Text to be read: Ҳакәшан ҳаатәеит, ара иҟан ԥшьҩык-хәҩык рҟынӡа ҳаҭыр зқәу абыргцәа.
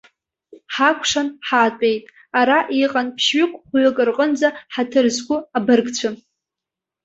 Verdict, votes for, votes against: accepted, 2, 1